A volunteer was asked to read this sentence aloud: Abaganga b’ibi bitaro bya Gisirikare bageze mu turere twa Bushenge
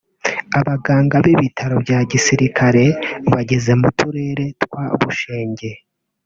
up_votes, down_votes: 0, 2